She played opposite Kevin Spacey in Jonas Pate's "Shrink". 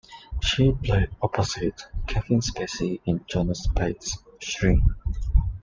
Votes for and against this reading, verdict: 2, 0, accepted